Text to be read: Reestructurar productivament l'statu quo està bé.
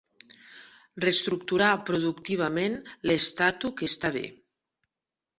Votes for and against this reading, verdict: 1, 2, rejected